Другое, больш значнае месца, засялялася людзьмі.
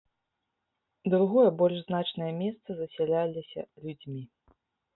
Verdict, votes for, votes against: rejected, 0, 2